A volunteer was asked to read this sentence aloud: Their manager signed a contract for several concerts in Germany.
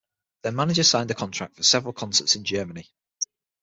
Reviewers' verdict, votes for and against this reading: accepted, 6, 0